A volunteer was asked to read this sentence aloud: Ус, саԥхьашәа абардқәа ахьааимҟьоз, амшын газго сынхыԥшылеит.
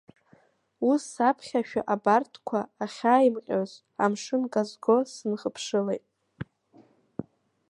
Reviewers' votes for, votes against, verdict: 1, 2, rejected